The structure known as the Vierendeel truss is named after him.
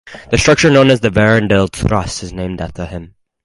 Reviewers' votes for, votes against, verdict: 4, 0, accepted